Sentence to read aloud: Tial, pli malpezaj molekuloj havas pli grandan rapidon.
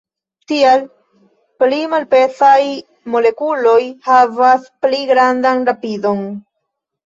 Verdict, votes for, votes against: accepted, 2, 0